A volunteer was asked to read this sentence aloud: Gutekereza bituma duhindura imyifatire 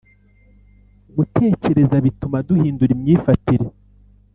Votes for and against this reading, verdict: 2, 0, accepted